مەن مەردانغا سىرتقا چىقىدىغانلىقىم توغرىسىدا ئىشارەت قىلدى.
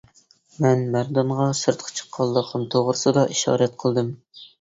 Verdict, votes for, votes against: rejected, 0, 2